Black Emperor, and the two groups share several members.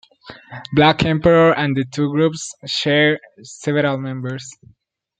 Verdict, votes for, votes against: accepted, 2, 0